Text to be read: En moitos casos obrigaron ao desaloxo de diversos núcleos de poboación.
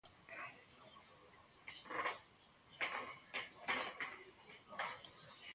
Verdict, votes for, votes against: rejected, 0, 2